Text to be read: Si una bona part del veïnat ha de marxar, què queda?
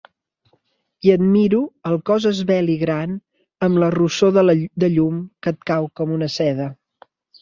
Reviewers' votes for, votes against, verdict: 0, 2, rejected